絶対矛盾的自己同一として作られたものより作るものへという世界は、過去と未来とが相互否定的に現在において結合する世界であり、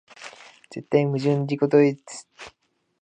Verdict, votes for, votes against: rejected, 0, 2